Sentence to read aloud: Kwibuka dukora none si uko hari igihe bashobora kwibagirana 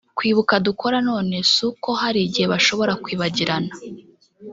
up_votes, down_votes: 0, 2